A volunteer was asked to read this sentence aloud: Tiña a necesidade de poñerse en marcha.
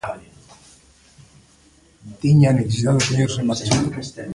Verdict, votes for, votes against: rejected, 0, 2